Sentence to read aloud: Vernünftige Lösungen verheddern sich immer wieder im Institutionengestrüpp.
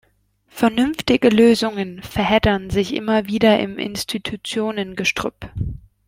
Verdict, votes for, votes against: accepted, 2, 0